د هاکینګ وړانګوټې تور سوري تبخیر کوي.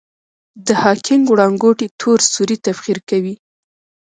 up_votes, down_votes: 0, 2